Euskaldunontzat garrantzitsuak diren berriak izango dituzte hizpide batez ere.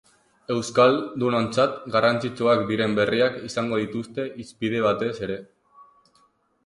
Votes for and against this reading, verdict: 2, 4, rejected